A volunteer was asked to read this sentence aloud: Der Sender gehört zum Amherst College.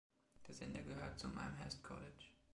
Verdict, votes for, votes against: accepted, 2, 0